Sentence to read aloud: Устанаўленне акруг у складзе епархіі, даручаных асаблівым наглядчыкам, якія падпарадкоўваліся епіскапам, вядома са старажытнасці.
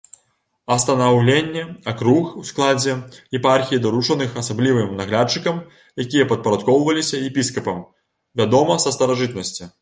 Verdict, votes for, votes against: rejected, 0, 2